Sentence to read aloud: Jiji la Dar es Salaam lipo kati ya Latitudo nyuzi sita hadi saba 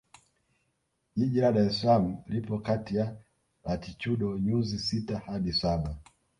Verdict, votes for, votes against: accepted, 2, 0